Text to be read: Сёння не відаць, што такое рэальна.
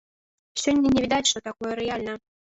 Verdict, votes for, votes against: rejected, 1, 2